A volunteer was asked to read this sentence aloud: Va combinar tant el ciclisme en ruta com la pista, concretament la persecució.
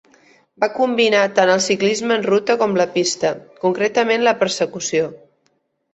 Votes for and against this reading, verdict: 2, 0, accepted